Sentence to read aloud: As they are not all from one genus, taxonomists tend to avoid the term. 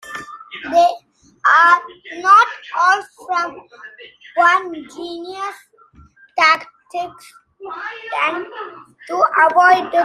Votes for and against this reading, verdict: 0, 3, rejected